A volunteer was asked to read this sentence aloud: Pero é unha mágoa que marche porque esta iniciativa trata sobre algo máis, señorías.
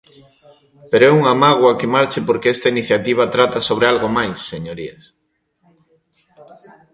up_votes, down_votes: 2, 0